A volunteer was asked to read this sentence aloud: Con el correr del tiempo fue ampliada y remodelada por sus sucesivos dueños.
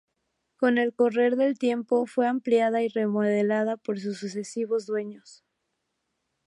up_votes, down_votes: 2, 2